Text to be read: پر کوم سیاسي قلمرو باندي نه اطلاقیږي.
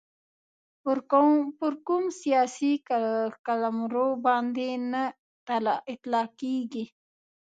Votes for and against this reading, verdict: 0, 2, rejected